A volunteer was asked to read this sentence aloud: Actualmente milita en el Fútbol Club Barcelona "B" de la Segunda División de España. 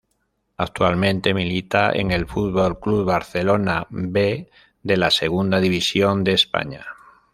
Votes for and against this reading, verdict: 2, 0, accepted